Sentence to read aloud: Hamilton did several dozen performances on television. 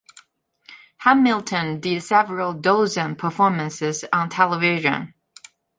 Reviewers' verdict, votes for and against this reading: rejected, 1, 2